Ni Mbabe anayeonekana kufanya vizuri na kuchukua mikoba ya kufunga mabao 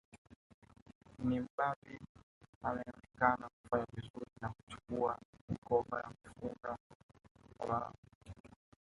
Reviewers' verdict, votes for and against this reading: rejected, 0, 2